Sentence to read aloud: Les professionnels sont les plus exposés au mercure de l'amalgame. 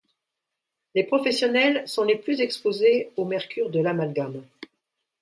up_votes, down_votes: 2, 0